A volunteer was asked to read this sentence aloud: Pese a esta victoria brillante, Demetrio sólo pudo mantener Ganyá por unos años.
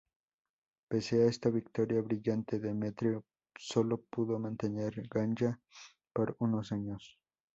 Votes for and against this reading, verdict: 2, 0, accepted